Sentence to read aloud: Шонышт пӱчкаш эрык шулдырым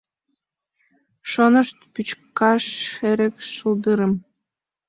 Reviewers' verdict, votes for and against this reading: accepted, 2, 0